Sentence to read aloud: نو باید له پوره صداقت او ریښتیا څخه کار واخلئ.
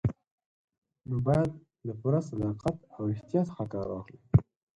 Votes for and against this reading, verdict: 2, 4, rejected